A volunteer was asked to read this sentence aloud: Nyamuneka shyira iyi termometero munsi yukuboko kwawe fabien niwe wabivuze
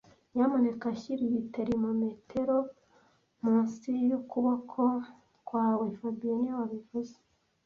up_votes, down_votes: 2, 0